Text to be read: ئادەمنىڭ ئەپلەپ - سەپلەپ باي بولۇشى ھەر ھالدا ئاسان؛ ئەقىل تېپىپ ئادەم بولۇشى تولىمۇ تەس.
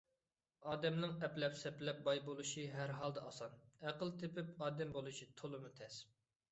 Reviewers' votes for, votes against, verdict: 2, 0, accepted